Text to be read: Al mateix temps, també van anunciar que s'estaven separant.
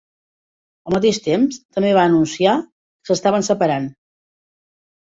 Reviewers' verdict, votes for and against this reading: rejected, 0, 2